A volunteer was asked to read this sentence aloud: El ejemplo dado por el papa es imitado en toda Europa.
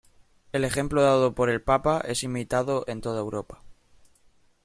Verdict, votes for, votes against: accepted, 2, 0